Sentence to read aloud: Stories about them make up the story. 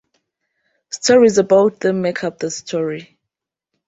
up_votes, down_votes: 2, 0